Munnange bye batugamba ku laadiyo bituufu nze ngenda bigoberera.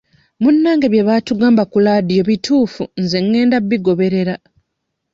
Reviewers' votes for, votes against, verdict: 1, 2, rejected